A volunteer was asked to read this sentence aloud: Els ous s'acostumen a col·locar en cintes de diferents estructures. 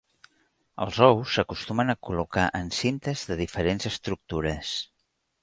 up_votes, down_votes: 0, 2